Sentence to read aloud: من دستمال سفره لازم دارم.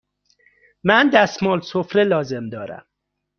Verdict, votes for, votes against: accepted, 2, 0